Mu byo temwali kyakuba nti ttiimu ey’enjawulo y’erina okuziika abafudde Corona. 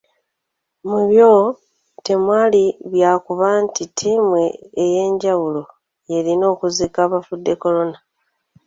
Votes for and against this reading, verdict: 1, 2, rejected